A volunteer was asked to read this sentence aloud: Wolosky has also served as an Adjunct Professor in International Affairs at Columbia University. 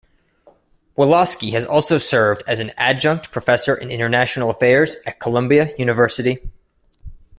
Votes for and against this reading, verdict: 2, 0, accepted